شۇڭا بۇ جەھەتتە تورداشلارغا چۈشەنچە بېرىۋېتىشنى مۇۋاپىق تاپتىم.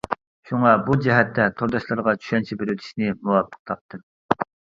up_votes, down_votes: 2, 1